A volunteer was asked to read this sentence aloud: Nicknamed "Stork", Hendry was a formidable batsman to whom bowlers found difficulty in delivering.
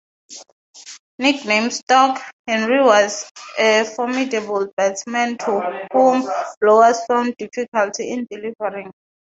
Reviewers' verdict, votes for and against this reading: rejected, 0, 6